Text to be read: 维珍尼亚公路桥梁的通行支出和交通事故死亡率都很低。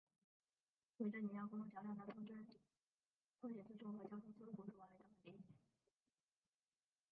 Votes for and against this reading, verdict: 1, 3, rejected